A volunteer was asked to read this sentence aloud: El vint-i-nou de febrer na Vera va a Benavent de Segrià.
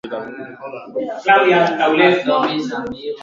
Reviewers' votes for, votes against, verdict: 0, 2, rejected